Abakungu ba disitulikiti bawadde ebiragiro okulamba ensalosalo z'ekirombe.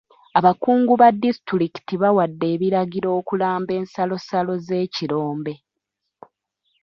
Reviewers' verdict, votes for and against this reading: rejected, 1, 2